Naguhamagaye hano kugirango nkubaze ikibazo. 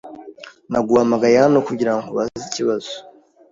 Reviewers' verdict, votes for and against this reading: accepted, 2, 0